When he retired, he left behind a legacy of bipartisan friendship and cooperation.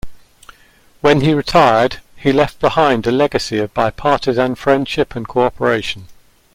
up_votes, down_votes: 2, 0